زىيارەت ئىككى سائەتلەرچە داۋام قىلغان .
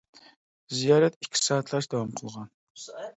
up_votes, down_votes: 2, 0